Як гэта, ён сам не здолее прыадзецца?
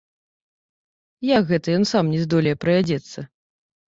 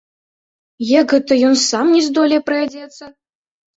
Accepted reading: second